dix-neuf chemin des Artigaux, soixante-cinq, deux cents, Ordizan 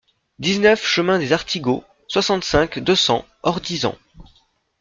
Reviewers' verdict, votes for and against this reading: accepted, 2, 0